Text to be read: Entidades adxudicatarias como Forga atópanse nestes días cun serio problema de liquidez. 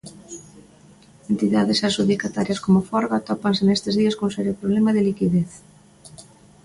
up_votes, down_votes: 2, 0